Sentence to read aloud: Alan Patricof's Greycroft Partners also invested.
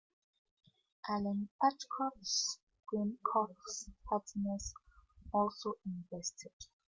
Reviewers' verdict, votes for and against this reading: rejected, 1, 2